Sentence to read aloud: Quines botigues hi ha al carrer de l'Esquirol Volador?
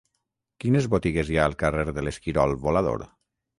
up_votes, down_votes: 9, 0